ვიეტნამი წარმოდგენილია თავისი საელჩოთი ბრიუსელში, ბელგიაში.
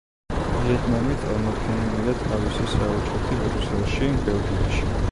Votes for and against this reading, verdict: 0, 2, rejected